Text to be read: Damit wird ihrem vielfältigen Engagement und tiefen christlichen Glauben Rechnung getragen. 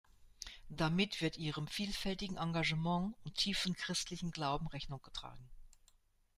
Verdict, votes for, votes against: rejected, 1, 2